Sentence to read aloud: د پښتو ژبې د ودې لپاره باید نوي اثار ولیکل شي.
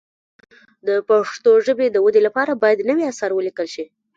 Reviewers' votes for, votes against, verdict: 1, 2, rejected